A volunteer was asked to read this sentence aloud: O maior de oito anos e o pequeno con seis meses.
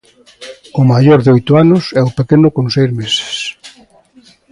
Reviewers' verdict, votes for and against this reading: rejected, 0, 2